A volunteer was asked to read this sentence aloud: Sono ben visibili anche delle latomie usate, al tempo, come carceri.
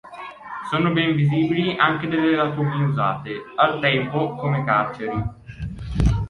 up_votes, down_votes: 1, 2